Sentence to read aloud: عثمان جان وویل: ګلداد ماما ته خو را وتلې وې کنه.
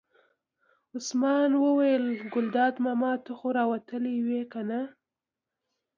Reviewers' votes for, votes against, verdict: 2, 1, accepted